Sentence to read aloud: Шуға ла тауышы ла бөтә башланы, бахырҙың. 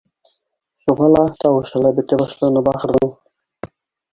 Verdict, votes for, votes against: rejected, 0, 2